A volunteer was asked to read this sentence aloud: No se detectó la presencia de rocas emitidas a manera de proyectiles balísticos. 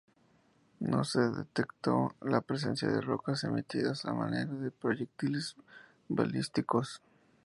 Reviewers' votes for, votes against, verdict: 2, 0, accepted